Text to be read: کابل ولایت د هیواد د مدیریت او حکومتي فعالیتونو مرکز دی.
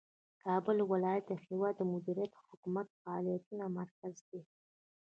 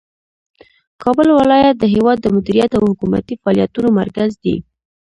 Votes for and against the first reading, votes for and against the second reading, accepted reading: 3, 0, 1, 2, first